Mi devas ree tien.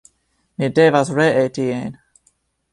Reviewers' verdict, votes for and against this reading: accepted, 2, 0